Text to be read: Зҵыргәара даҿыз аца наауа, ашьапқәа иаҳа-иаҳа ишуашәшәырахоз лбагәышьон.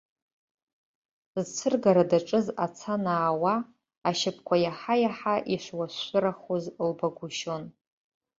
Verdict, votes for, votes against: rejected, 0, 2